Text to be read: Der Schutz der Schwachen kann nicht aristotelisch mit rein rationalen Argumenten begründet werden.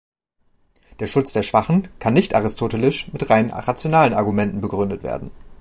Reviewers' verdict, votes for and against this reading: accepted, 2, 1